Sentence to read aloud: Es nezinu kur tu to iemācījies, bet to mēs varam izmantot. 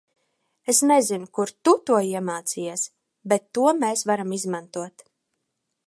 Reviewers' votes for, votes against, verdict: 2, 0, accepted